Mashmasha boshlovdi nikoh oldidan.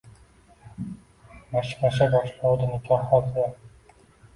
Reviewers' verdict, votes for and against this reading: rejected, 1, 2